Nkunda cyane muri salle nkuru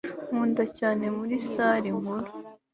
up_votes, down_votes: 3, 0